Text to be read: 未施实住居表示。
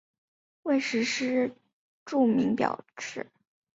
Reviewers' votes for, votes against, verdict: 1, 2, rejected